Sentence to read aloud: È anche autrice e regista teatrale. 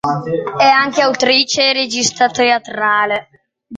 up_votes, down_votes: 1, 2